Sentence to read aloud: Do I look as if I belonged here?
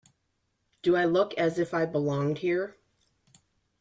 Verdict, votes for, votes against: accepted, 2, 0